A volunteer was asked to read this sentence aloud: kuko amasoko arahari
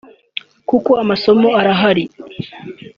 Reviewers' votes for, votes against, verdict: 0, 2, rejected